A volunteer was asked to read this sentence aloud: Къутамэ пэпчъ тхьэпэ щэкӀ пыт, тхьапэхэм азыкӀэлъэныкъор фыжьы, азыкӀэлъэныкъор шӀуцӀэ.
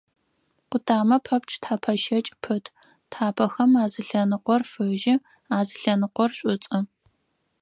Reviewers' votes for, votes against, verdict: 2, 4, rejected